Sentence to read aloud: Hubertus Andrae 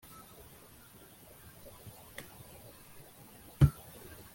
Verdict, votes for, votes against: rejected, 0, 2